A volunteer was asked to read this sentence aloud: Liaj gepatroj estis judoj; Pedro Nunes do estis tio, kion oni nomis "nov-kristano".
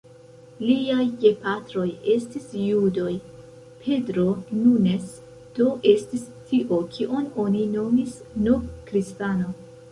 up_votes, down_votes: 1, 2